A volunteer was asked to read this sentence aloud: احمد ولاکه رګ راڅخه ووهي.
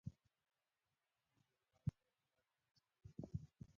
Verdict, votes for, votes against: accepted, 2, 1